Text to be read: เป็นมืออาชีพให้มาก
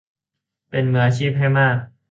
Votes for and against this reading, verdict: 2, 0, accepted